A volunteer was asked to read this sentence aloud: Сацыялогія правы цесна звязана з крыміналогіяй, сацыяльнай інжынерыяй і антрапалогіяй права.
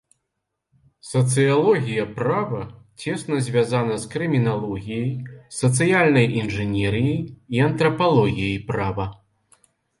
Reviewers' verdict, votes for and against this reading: rejected, 1, 2